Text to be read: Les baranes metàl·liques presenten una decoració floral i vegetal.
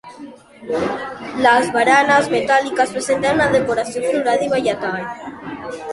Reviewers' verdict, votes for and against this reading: rejected, 1, 2